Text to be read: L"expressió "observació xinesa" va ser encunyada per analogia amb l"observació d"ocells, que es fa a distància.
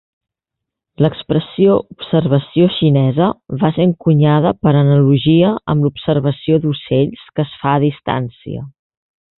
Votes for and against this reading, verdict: 2, 0, accepted